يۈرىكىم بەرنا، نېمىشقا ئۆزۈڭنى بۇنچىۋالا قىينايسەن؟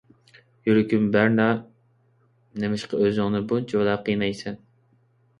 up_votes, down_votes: 2, 0